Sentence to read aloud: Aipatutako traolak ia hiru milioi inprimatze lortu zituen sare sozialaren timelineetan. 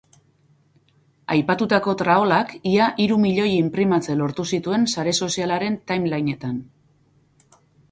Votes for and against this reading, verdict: 2, 0, accepted